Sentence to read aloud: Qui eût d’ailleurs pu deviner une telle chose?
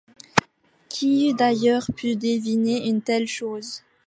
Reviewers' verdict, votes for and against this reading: accepted, 2, 1